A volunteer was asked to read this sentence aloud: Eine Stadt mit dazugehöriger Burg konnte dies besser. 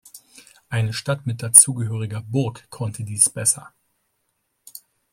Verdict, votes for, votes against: rejected, 1, 2